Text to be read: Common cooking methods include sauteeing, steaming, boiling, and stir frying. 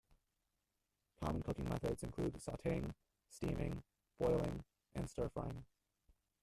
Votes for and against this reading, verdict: 1, 2, rejected